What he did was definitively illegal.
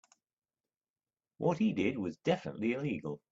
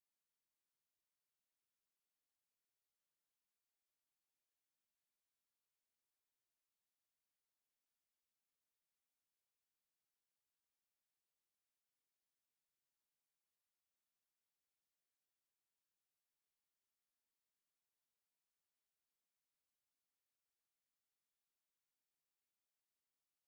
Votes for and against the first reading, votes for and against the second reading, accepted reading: 2, 1, 0, 2, first